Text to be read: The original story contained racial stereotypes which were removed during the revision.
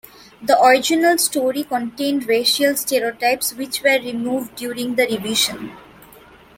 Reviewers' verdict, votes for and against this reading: accepted, 2, 0